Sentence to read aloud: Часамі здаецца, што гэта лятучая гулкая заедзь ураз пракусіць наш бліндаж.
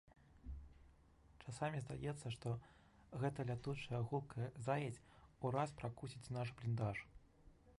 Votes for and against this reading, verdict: 1, 2, rejected